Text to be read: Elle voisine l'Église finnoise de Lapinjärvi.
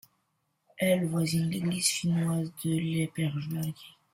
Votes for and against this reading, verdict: 2, 0, accepted